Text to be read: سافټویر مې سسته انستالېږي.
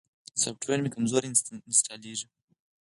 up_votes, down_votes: 4, 0